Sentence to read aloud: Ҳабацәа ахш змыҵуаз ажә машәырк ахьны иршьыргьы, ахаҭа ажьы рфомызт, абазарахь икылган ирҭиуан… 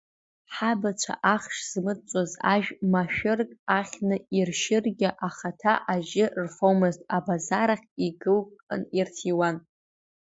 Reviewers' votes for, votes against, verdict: 2, 0, accepted